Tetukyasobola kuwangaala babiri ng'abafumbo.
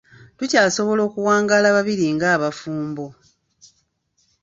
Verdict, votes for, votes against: rejected, 1, 2